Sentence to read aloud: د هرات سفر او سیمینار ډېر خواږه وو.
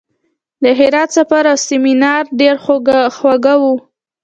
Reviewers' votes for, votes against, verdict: 2, 0, accepted